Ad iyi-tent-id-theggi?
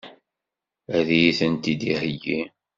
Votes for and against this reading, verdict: 1, 2, rejected